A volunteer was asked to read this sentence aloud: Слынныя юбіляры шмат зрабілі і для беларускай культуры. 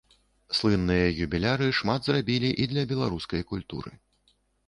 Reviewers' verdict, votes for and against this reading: accepted, 2, 0